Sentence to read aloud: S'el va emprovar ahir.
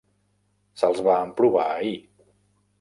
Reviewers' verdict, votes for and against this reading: rejected, 0, 2